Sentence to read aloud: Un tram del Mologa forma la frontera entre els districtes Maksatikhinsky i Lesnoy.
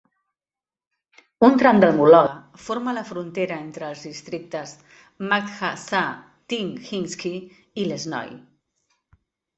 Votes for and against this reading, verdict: 1, 2, rejected